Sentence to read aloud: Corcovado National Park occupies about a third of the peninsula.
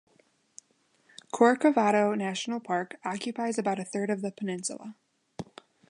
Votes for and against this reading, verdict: 2, 0, accepted